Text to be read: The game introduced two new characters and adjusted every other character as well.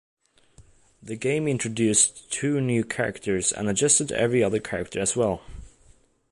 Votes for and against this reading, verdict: 2, 0, accepted